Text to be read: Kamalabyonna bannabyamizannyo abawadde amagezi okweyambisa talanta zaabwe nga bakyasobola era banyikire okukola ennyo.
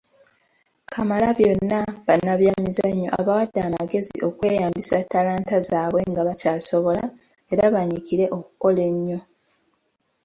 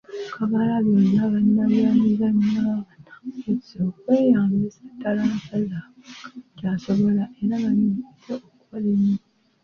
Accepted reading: first